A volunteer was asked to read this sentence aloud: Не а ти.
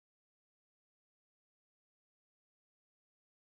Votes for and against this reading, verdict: 0, 2, rejected